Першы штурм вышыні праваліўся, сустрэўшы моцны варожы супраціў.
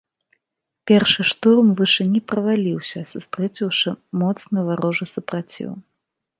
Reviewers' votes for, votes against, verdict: 1, 2, rejected